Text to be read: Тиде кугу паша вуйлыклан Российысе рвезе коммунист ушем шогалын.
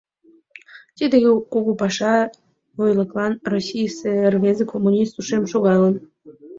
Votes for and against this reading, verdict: 1, 2, rejected